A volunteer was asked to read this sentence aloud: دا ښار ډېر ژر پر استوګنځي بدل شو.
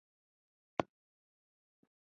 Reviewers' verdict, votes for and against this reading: rejected, 0, 2